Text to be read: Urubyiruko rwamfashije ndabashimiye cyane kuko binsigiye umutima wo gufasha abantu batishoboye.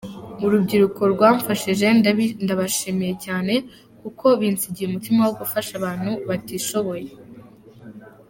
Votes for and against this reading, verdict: 1, 2, rejected